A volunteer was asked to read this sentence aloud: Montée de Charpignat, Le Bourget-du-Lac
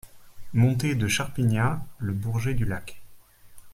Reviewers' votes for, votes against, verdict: 2, 0, accepted